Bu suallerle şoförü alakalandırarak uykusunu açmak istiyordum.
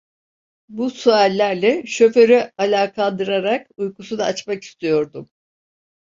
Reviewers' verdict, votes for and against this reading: rejected, 1, 2